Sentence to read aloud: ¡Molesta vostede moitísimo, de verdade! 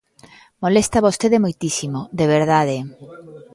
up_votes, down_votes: 2, 0